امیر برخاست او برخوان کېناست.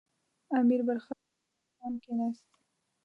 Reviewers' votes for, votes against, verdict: 0, 2, rejected